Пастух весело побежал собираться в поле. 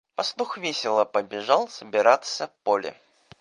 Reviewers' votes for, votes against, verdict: 1, 2, rejected